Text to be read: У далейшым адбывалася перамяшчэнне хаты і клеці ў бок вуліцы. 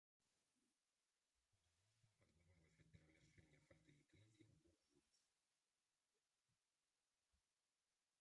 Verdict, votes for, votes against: rejected, 0, 2